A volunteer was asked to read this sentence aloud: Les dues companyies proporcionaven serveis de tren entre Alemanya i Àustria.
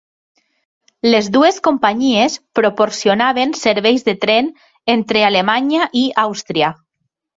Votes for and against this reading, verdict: 2, 0, accepted